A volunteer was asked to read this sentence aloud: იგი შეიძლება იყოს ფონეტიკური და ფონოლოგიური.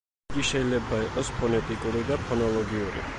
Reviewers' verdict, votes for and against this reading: rejected, 1, 2